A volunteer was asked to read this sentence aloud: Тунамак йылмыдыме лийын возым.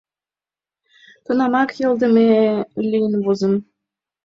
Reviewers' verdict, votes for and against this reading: accepted, 2, 1